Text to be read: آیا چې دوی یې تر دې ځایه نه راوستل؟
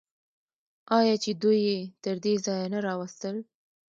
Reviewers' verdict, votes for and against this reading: rejected, 0, 2